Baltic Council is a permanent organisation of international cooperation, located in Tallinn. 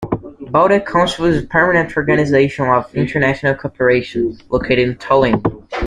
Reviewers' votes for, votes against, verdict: 1, 2, rejected